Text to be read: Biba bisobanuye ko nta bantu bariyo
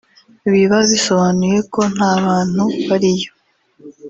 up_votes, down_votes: 1, 2